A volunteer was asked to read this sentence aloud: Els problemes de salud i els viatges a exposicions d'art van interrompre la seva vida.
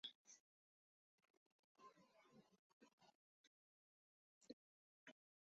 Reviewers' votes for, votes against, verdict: 0, 2, rejected